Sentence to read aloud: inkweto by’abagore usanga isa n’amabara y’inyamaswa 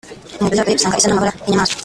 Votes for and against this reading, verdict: 0, 2, rejected